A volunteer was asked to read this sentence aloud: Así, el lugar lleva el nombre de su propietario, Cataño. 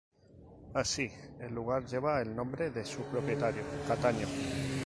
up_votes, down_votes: 4, 0